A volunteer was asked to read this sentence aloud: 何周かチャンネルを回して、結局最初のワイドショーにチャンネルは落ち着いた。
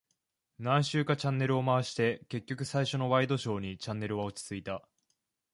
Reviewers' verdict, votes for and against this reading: accepted, 2, 0